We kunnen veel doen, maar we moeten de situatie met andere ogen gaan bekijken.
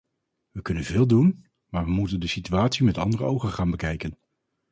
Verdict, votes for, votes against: accepted, 4, 0